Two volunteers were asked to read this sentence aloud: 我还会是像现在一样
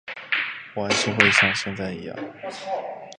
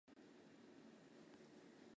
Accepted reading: first